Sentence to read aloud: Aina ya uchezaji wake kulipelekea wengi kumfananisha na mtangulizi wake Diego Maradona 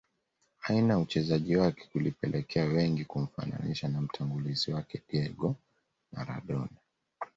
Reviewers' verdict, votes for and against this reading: accepted, 2, 0